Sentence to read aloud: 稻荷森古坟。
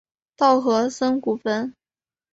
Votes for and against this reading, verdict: 3, 0, accepted